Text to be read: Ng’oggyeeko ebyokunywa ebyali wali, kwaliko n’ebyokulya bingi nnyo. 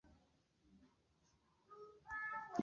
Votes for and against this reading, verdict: 0, 2, rejected